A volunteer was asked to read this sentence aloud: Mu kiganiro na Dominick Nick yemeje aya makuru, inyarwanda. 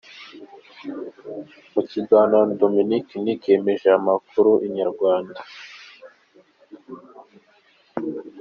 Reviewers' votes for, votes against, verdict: 0, 2, rejected